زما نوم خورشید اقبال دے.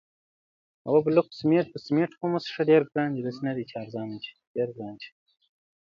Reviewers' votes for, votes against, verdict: 0, 2, rejected